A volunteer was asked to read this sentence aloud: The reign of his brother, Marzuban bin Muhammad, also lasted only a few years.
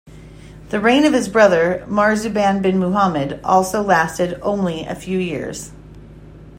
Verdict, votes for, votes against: accepted, 2, 0